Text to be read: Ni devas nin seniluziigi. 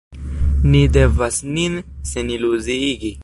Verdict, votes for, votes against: accepted, 2, 0